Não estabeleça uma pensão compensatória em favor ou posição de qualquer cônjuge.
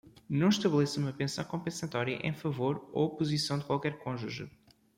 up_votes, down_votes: 2, 0